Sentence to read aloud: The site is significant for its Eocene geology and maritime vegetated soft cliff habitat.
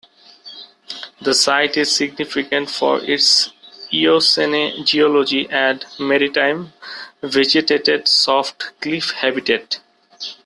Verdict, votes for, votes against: rejected, 0, 2